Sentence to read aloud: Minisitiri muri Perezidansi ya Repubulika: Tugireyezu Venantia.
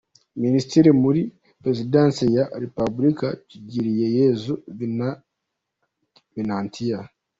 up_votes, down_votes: 0, 2